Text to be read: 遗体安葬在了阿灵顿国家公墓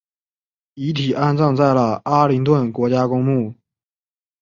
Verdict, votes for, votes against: accepted, 2, 1